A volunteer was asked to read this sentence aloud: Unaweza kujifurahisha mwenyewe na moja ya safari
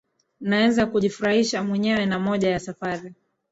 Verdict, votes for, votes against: rejected, 1, 2